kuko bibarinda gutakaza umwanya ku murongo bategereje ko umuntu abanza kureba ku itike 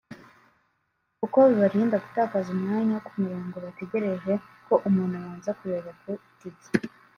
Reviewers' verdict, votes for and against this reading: accepted, 2, 0